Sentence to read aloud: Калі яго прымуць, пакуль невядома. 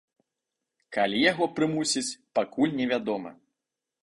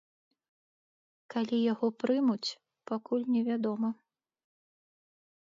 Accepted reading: second